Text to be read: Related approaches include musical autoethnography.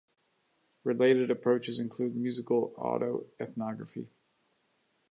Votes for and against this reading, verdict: 2, 0, accepted